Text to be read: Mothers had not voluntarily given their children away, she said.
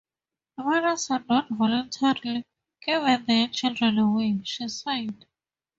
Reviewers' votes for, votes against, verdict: 2, 0, accepted